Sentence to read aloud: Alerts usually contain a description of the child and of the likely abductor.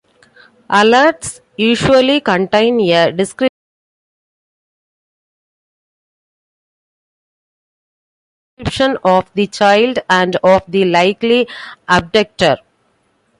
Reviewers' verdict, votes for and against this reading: rejected, 0, 2